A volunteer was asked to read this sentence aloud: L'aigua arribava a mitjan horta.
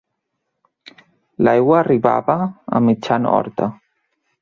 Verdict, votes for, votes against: accepted, 2, 0